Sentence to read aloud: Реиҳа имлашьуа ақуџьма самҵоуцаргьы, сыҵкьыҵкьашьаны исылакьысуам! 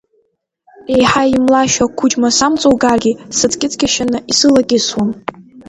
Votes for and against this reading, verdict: 2, 1, accepted